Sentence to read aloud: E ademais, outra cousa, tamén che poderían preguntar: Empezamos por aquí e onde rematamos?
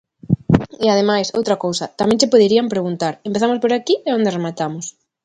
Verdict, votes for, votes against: accepted, 2, 0